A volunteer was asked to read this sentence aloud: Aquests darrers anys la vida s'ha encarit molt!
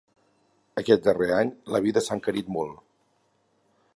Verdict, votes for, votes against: rejected, 2, 4